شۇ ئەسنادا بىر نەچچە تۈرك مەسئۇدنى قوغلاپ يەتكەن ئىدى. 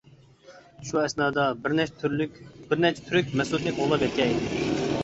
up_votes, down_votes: 0, 2